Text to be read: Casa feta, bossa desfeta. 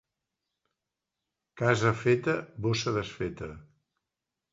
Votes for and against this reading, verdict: 2, 0, accepted